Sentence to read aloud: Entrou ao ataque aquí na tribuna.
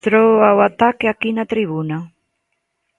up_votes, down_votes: 0, 2